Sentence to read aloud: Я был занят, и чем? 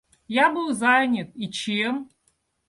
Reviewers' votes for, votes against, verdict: 2, 0, accepted